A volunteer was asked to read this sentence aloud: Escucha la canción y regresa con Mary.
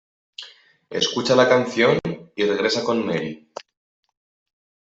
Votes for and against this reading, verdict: 2, 0, accepted